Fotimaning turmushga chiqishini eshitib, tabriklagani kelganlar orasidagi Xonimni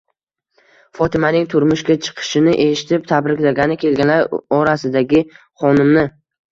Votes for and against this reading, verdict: 2, 0, accepted